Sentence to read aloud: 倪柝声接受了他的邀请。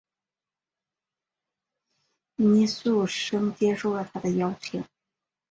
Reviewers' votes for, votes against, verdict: 0, 3, rejected